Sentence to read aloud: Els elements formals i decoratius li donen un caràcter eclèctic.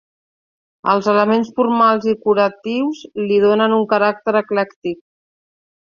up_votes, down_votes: 0, 2